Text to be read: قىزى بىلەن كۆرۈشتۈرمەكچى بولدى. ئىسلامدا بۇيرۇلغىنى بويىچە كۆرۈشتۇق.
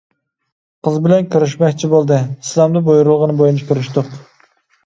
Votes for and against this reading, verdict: 0, 2, rejected